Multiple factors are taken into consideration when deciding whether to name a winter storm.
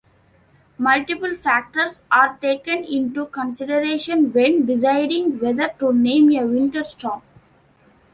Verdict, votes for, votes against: accepted, 2, 1